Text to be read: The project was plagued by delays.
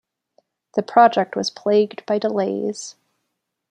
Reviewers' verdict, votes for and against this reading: accepted, 2, 0